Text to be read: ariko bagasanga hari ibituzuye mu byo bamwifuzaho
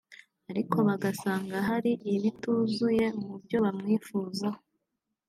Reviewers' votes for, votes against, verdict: 3, 1, accepted